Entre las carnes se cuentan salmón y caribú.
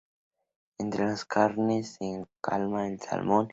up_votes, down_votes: 2, 4